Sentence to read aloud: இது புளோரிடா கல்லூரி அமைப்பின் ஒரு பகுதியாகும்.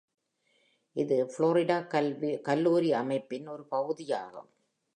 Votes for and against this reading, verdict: 1, 2, rejected